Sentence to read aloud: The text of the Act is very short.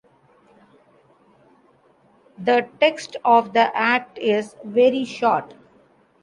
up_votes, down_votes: 2, 0